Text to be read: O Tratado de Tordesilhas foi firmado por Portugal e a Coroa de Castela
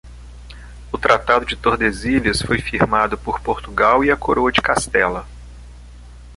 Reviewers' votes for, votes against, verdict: 2, 0, accepted